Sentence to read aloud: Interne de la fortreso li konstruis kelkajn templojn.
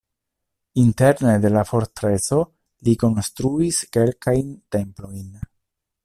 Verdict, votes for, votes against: accepted, 2, 0